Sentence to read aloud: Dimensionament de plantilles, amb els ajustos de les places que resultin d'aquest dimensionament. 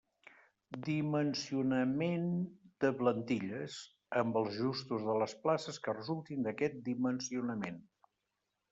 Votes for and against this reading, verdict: 0, 2, rejected